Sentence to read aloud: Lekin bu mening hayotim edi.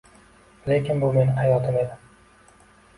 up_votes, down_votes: 2, 0